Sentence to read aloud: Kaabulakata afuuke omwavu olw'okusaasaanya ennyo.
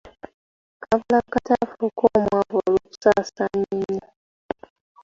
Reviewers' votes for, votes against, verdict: 2, 0, accepted